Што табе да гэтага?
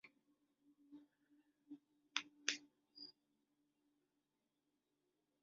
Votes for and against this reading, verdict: 0, 2, rejected